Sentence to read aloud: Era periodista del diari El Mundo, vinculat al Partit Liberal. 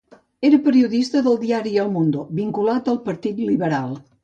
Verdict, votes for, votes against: accepted, 2, 0